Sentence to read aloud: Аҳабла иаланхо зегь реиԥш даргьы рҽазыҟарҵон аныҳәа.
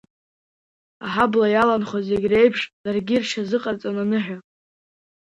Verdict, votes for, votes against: accepted, 2, 0